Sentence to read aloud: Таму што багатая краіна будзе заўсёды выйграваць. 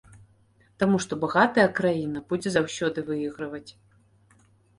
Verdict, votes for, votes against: rejected, 1, 2